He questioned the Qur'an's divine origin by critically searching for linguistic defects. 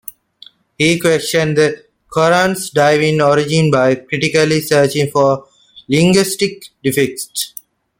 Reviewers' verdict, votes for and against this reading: accepted, 2, 0